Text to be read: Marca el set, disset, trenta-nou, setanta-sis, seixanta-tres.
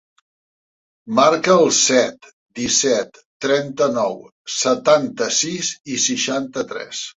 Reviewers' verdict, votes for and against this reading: rejected, 0, 2